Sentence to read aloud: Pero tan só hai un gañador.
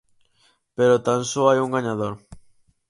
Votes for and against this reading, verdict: 4, 0, accepted